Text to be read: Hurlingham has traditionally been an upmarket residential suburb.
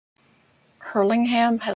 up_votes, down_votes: 0, 2